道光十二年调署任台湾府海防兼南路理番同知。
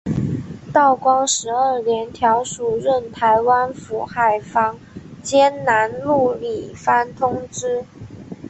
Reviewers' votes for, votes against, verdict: 1, 2, rejected